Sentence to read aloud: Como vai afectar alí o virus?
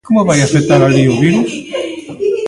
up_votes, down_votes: 0, 2